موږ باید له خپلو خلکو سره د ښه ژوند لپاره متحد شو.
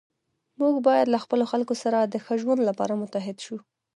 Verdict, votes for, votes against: accepted, 2, 1